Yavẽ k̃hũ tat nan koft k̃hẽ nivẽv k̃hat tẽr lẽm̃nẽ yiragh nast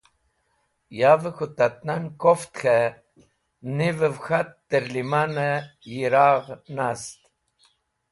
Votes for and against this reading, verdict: 2, 0, accepted